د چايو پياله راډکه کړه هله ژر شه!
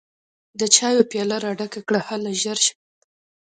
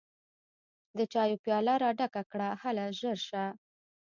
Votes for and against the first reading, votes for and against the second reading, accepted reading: 2, 0, 1, 2, first